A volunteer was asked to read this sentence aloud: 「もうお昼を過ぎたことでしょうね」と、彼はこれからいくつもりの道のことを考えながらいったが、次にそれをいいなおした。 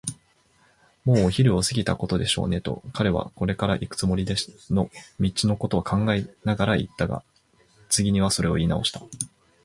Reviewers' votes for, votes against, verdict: 0, 3, rejected